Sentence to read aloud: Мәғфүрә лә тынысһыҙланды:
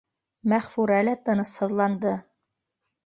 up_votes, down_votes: 2, 0